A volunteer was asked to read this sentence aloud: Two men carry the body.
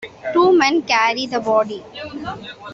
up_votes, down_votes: 2, 0